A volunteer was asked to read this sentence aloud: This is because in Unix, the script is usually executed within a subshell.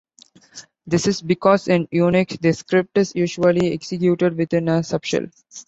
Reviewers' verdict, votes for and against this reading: accepted, 2, 0